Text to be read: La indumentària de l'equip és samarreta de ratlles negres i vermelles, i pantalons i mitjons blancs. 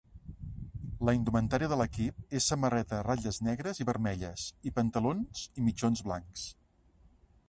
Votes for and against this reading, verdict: 2, 0, accepted